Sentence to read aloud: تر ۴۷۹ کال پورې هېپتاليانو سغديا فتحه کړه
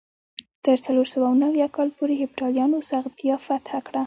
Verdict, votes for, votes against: rejected, 0, 2